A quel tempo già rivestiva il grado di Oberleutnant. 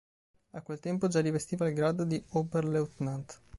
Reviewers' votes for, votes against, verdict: 0, 2, rejected